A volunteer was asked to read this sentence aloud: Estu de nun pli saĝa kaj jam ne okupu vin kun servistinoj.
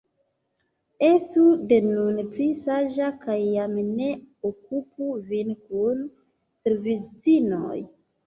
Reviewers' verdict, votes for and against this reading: accepted, 2, 0